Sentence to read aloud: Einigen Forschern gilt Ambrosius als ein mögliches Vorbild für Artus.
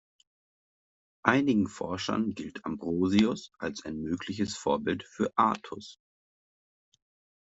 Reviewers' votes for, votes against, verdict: 2, 0, accepted